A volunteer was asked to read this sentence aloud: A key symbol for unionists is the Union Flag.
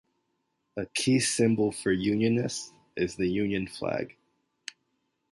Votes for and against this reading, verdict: 2, 0, accepted